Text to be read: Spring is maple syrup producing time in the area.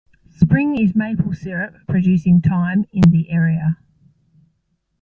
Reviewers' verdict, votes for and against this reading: rejected, 1, 2